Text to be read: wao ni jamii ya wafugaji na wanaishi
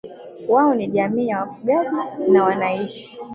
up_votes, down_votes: 2, 3